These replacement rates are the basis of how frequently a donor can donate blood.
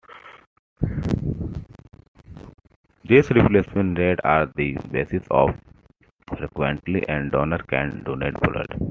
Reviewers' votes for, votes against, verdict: 0, 2, rejected